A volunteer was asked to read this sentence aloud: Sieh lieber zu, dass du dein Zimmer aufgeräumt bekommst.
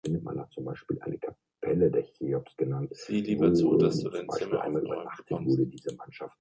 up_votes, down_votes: 1, 2